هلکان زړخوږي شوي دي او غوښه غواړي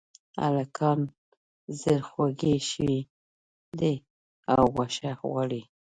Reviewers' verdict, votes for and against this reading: rejected, 1, 2